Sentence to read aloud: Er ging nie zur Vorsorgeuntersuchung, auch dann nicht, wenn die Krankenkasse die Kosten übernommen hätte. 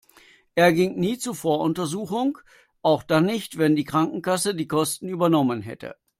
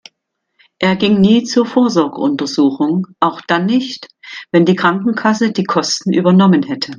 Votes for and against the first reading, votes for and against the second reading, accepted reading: 0, 2, 2, 0, second